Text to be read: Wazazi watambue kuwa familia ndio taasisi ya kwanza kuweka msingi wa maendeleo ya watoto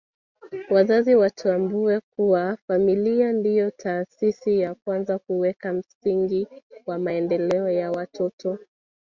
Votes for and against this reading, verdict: 2, 0, accepted